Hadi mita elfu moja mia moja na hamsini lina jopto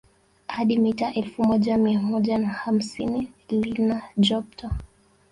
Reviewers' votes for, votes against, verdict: 1, 2, rejected